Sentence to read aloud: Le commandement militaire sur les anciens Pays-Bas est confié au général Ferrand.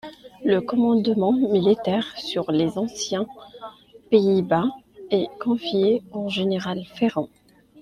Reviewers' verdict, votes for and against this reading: accepted, 2, 0